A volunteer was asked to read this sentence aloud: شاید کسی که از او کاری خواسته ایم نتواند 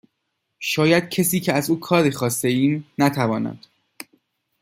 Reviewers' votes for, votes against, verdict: 2, 0, accepted